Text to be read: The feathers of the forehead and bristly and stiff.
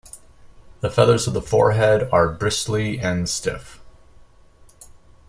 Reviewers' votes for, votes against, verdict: 1, 2, rejected